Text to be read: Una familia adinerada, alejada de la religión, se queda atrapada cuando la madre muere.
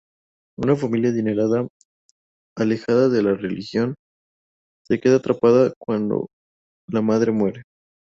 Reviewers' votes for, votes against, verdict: 0, 2, rejected